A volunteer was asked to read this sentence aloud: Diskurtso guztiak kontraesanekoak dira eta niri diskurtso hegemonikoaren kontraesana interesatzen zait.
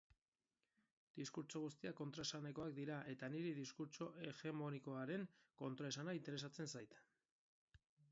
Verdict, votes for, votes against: accepted, 2, 0